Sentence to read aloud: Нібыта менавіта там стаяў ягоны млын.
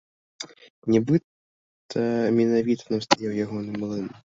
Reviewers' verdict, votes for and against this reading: rejected, 0, 2